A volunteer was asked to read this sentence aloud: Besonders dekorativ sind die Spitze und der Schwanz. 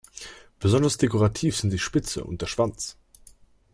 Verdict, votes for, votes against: accepted, 2, 0